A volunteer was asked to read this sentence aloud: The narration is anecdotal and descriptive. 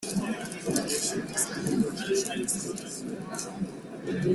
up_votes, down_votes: 0, 2